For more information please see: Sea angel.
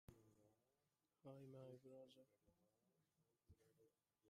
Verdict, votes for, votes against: rejected, 0, 2